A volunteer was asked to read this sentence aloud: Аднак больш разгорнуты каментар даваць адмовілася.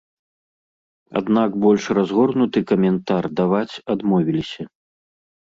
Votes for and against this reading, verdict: 1, 2, rejected